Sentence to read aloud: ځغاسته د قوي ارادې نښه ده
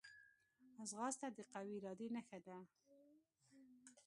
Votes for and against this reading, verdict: 2, 0, accepted